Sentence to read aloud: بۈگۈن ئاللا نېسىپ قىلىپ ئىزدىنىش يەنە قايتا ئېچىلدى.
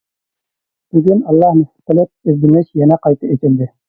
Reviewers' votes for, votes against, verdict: 1, 2, rejected